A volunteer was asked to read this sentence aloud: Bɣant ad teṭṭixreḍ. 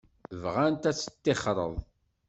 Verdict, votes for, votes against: accepted, 2, 0